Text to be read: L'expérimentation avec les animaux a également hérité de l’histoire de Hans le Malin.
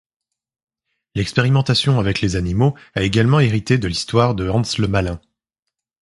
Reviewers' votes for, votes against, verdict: 2, 0, accepted